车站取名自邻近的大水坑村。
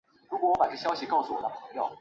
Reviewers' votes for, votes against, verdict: 0, 3, rejected